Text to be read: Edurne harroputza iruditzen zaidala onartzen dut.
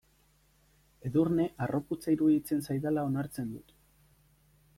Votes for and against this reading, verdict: 2, 0, accepted